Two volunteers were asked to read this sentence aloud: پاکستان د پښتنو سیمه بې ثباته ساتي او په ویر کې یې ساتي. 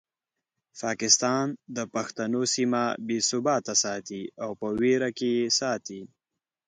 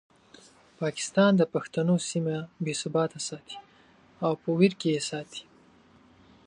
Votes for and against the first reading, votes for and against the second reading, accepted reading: 1, 2, 2, 0, second